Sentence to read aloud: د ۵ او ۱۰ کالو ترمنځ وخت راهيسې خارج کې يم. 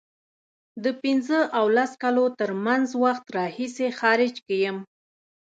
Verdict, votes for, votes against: rejected, 0, 2